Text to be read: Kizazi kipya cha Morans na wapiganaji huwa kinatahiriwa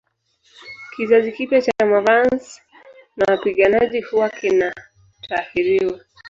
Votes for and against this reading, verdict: 0, 2, rejected